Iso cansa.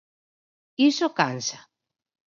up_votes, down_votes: 4, 0